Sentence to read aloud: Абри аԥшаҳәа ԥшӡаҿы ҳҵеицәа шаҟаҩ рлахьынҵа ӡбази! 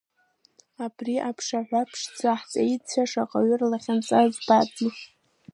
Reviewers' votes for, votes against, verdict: 2, 0, accepted